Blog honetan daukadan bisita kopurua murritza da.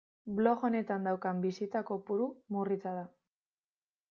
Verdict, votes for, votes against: rejected, 0, 2